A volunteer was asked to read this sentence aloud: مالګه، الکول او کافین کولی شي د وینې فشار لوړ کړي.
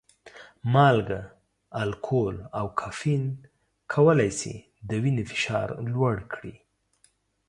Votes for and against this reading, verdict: 2, 0, accepted